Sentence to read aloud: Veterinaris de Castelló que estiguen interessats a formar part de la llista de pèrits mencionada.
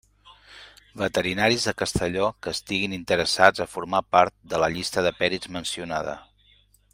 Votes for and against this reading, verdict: 1, 2, rejected